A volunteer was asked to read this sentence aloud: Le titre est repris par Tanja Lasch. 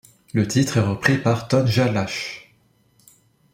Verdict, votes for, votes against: rejected, 0, 2